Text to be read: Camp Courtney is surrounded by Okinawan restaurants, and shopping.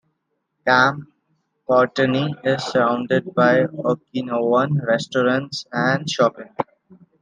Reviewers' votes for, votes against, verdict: 2, 0, accepted